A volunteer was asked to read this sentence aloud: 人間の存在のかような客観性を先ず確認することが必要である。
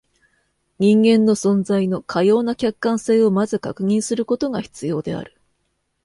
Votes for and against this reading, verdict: 2, 0, accepted